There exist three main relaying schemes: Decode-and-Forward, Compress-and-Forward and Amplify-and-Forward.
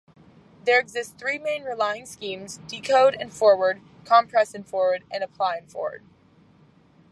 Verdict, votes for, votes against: rejected, 0, 2